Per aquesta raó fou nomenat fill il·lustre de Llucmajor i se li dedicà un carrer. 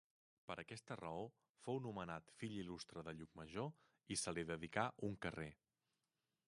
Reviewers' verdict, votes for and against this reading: rejected, 0, 2